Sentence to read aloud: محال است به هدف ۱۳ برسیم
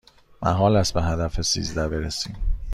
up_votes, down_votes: 0, 2